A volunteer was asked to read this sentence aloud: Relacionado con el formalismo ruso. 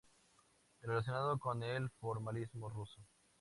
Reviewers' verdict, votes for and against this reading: accepted, 2, 0